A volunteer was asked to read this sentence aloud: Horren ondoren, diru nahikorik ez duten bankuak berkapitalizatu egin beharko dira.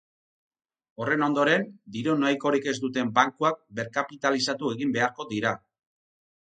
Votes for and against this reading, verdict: 4, 0, accepted